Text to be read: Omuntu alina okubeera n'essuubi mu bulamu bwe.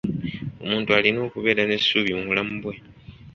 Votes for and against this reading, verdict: 2, 0, accepted